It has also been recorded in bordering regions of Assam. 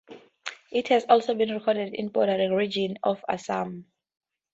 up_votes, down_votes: 2, 0